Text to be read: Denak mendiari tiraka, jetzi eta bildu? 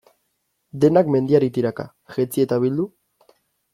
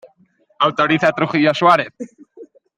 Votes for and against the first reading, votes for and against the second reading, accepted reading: 2, 0, 0, 2, first